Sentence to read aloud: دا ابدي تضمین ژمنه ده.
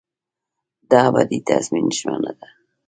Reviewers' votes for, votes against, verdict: 1, 2, rejected